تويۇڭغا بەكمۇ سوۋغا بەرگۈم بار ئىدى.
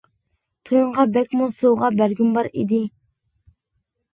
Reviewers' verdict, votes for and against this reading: accepted, 2, 0